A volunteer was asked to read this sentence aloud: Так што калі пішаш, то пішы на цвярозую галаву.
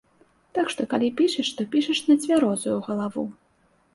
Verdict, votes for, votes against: rejected, 0, 2